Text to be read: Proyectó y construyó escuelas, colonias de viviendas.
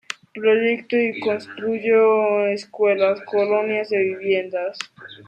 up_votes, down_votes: 0, 2